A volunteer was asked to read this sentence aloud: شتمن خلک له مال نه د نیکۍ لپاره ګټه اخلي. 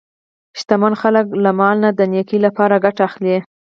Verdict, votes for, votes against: rejected, 2, 4